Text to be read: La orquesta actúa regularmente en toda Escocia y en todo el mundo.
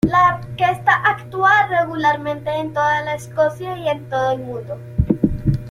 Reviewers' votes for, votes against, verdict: 2, 3, rejected